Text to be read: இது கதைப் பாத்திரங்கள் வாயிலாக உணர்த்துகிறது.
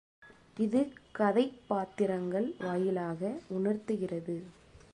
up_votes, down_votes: 2, 0